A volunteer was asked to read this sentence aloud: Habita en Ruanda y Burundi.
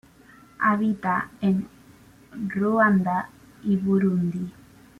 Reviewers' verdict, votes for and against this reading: rejected, 1, 2